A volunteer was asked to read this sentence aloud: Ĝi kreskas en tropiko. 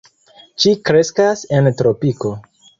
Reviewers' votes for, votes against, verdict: 2, 0, accepted